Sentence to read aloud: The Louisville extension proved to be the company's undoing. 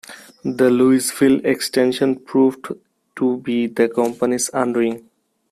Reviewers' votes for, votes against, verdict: 2, 1, accepted